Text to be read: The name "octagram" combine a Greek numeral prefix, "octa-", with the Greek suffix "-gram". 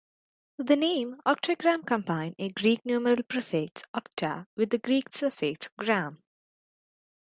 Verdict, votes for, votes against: accepted, 2, 0